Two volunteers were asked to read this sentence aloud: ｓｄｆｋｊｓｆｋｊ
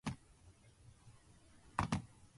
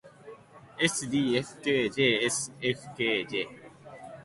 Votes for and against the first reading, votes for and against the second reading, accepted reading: 0, 3, 2, 0, second